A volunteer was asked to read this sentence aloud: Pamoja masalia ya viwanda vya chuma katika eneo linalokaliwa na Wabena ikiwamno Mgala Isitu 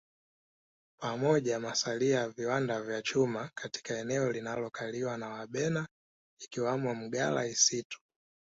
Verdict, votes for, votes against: rejected, 1, 2